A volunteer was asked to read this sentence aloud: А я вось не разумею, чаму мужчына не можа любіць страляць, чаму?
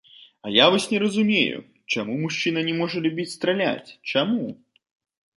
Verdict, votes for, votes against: rejected, 1, 2